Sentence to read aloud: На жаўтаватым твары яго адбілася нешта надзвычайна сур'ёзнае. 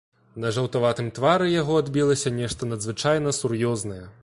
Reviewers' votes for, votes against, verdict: 2, 0, accepted